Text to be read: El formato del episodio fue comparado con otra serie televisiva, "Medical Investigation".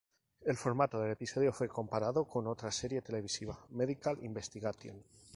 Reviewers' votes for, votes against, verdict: 0, 2, rejected